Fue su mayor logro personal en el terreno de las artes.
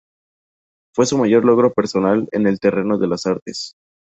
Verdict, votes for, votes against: accepted, 2, 0